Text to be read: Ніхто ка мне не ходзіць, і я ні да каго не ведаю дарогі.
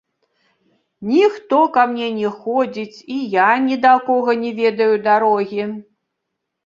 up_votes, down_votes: 1, 3